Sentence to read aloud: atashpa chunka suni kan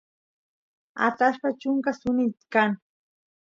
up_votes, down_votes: 2, 0